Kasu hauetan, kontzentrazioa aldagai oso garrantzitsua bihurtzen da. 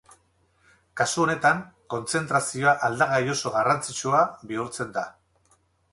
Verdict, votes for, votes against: accepted, 6, 0